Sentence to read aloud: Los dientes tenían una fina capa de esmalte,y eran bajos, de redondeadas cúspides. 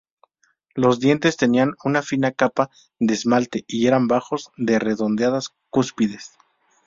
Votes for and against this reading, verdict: 0, 2, rejected